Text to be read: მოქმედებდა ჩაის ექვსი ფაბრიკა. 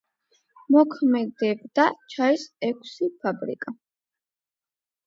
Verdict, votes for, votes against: accepted, 8, 0